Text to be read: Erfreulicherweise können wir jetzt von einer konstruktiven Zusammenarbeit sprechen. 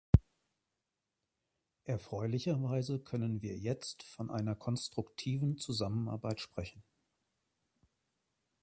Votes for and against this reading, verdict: 2, 0, accepted